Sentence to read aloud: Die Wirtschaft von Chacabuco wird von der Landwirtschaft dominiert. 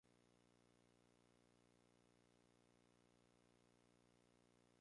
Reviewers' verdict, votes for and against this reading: rejected, 0, 2